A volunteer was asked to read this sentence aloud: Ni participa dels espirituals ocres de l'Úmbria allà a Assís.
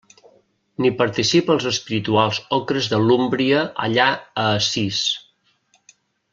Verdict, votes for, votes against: rejected, 1, 2